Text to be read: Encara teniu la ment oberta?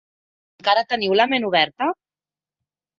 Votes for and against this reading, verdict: 1, 2, rejected